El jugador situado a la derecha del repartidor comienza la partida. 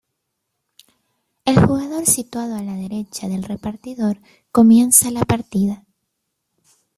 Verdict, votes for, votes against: rejected, 0, 2